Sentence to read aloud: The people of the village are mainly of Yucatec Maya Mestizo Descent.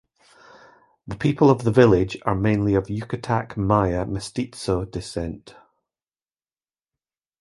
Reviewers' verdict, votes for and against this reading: accepted, 2, 0